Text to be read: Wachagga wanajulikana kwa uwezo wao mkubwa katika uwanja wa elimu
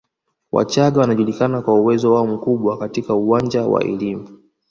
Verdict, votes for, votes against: rejected, 1, 2